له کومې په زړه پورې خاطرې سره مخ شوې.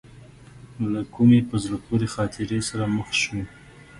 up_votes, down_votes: 2, 0